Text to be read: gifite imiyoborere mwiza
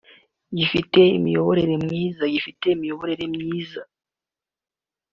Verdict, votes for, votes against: rejected, 0, 2